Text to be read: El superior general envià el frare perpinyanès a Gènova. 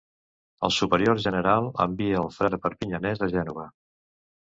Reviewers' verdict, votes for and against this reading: rejected, 1, 2